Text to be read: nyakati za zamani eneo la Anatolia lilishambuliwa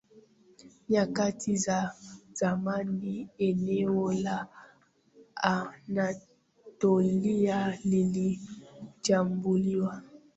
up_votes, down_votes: 0, 2